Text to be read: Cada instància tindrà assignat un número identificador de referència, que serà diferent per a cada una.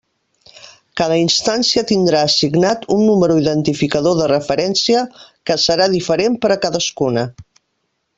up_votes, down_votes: 0, 2